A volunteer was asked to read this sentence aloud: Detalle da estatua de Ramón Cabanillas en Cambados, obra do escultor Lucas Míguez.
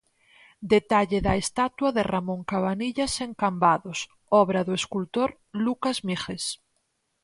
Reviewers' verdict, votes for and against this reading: accepted, 4, 0